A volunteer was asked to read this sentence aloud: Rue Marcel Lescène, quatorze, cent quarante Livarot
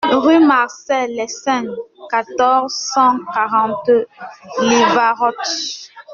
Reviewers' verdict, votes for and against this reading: rejected, 0, 2